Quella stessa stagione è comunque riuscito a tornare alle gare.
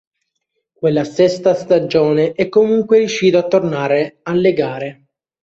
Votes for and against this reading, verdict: 2, 0, accepted